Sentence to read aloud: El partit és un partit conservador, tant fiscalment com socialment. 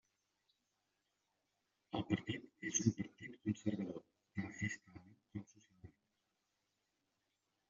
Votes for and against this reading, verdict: 0, 2, rejected